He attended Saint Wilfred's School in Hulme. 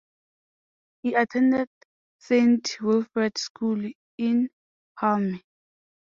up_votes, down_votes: 2, 0